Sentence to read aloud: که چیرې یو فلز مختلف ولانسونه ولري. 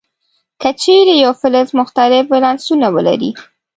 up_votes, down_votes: 1, 2